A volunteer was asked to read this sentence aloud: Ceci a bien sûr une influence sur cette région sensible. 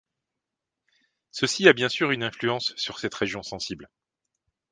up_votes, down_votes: 3, 0